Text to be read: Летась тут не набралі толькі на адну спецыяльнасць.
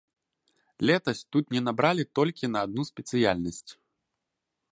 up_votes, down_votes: 2, 0